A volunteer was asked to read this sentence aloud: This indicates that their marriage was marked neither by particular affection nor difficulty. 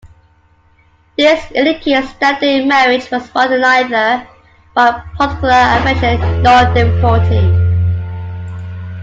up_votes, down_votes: 2, 1